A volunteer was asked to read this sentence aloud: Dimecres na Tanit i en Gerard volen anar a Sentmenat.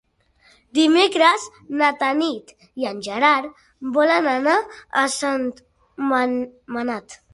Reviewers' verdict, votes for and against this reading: rejected, 0, 2